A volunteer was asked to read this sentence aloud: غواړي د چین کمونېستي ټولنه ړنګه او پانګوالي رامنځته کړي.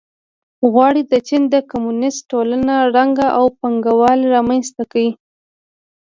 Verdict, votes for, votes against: rejected, 0, 2